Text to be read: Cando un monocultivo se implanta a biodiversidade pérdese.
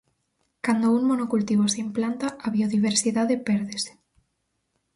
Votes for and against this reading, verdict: 4, 0, accepted